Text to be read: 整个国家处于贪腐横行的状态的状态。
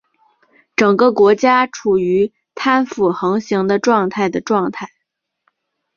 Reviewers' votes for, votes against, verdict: 4, 0, accepted